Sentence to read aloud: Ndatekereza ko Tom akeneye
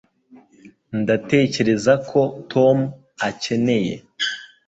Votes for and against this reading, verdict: 2, 0, accepted